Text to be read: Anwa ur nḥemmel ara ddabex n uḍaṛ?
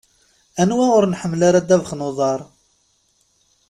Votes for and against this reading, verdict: 2, 0, accepted